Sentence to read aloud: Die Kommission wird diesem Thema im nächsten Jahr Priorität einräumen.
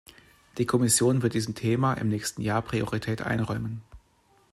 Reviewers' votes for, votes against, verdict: 2, 0, accepted